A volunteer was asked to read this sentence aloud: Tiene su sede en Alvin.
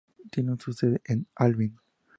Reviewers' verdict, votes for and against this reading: rejected, 0, 2